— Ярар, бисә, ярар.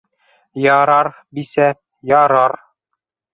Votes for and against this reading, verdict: 0, 2, rejected